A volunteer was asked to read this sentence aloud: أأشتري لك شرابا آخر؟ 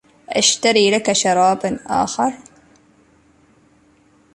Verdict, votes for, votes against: rejected, 1, 2